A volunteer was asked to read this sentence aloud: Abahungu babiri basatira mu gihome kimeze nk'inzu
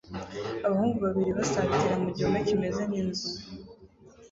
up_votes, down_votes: 2, 0